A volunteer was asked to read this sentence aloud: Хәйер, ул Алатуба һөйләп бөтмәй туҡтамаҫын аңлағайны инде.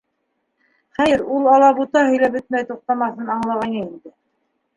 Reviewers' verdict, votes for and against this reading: accepted, 3, 2